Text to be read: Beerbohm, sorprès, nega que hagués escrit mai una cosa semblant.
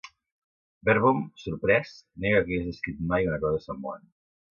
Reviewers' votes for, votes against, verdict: 1, 2, rejected